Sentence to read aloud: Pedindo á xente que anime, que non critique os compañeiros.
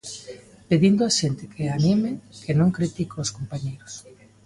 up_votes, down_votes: 2, 0